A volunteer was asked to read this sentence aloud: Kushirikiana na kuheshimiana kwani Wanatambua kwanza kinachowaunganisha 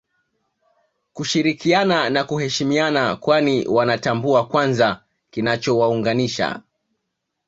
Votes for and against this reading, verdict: 2, 0, accepted